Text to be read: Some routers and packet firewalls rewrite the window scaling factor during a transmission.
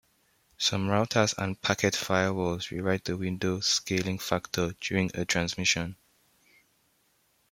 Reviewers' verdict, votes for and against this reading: accepted, 2, 1